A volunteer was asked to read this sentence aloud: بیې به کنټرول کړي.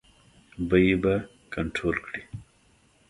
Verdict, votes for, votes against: accepted, 2, 0